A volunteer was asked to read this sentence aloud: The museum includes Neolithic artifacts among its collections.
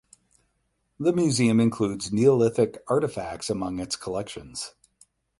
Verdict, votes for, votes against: accepted, 4, 0